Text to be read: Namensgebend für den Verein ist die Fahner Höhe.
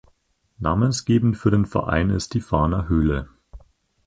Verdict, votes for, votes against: rejected, 2, 4